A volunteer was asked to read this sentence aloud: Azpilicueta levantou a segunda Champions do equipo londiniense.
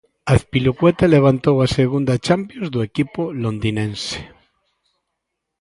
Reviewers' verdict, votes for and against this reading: rejected, 1, 2